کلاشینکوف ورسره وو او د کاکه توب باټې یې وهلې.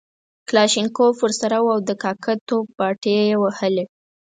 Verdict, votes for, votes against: accepted, 6, 0